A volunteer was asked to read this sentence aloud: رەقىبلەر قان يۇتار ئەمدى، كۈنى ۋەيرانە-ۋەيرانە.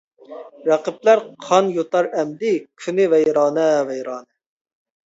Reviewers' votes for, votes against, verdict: 1, 2, rejected